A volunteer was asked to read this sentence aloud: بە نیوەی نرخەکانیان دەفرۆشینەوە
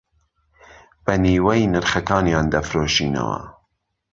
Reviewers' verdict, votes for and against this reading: accepted, 2, 0